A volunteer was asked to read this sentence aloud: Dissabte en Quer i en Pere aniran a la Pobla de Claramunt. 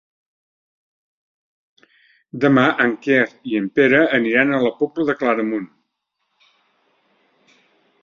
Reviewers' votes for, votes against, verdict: 0, 2, rejected